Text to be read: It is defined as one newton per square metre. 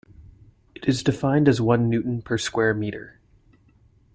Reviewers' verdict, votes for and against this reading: accepted, 2, 0